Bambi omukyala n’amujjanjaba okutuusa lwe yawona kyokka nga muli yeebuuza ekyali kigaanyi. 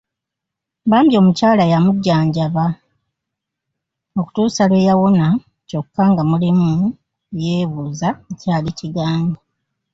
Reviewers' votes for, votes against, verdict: 0, 2, rejected